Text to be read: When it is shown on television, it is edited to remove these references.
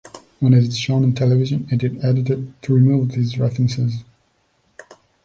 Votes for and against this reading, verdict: 0, 2, rejected